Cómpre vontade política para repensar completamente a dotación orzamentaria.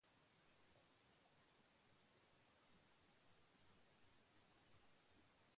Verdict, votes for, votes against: rejected, 0, 2